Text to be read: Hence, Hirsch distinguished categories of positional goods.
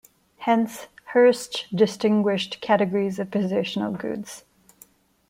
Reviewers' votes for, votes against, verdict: 2, 0, accepted